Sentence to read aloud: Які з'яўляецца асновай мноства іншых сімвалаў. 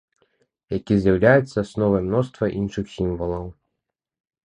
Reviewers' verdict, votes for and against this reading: accepted, 2, 0